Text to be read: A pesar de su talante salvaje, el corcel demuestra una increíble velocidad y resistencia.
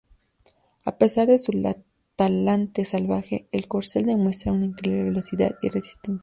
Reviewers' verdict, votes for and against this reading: rejected, 0, 2